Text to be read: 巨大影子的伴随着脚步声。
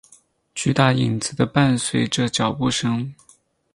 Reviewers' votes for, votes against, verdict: 10, 0, accepted